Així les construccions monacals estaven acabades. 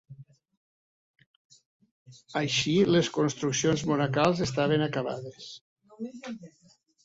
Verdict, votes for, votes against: rejected, 1, 2